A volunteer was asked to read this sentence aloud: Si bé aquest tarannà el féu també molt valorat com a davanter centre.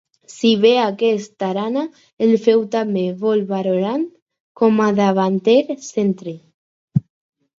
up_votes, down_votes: 0, 4